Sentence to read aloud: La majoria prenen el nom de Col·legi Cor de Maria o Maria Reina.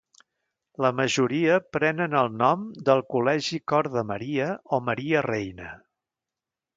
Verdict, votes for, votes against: rejected, 1, 2